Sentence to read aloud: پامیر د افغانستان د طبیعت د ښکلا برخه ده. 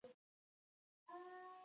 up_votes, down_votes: 1, 2